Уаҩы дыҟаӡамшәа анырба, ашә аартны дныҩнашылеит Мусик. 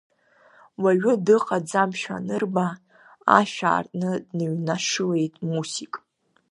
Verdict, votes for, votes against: accepted, 2, 0